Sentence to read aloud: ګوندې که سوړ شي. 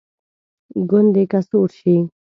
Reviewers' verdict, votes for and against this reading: accepted, 2, 0